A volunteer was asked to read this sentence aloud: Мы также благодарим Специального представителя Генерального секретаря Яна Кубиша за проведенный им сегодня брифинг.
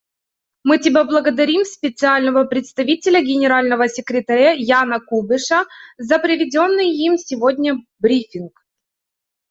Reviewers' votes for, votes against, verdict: 0, 2, rejected